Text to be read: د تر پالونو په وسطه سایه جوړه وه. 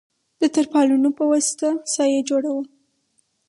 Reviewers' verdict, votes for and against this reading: accepted, 2, 0